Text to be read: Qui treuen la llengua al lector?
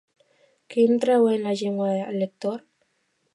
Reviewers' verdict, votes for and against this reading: rejected, 0, 2